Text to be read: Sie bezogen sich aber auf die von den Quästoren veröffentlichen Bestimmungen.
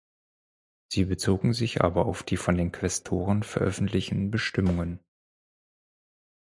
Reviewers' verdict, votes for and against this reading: accepted, 4, 0